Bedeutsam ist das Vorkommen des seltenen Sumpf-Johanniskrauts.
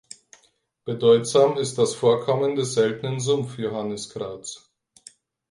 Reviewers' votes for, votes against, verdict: 4, 2, accepted